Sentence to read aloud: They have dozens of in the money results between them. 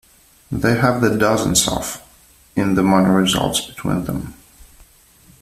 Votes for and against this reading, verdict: 0, 2, rejected